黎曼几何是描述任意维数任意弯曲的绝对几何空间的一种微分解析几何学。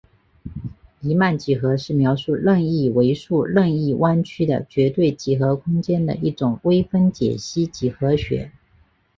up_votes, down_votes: 3, 0